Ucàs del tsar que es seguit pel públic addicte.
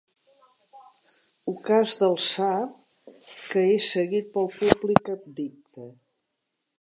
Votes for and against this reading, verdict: 1, 2, rejected